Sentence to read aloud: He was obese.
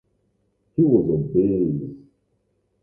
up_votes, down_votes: 0, 2